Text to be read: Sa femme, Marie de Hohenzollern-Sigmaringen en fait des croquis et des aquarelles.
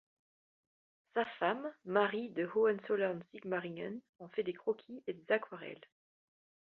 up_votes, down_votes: 2, 0